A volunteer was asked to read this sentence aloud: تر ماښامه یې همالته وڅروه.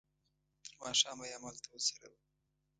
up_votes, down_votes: 1, 2